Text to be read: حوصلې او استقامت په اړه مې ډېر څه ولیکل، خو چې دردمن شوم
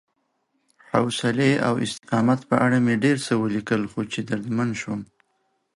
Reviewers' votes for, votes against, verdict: 2, 0, accepted